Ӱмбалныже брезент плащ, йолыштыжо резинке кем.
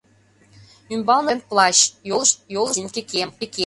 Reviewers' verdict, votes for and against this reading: rejected, 0, 2